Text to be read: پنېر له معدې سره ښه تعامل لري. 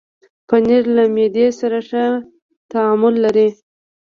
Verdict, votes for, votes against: rejected, 1, 2